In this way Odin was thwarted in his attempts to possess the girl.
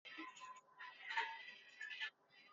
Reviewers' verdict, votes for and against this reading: rejected, 0, 2